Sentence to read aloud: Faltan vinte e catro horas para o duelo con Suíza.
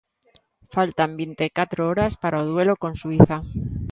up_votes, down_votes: 3, 0